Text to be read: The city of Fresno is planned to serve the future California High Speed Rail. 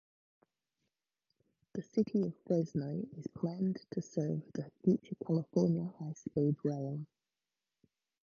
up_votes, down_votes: 0, 2